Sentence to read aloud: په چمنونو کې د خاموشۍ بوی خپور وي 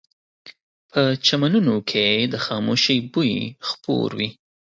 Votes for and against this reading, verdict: 2, 0, accepted